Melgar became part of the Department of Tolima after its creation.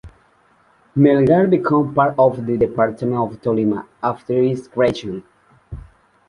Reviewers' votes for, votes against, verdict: 1, 2, rejected